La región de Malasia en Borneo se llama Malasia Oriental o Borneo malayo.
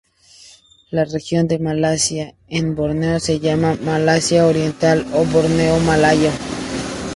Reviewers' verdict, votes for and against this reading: accepted, 2, 0